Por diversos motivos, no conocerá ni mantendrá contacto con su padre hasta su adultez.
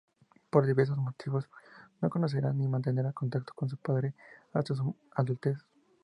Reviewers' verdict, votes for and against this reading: rejected, 0, 2